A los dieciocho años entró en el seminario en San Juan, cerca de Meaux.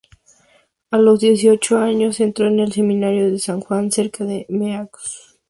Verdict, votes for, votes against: accepted, 2, 0